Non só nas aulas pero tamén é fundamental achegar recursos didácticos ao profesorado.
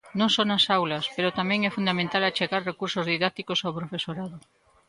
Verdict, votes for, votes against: accepted, 2, 0